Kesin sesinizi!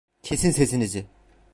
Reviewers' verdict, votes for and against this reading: accepted, 2, 0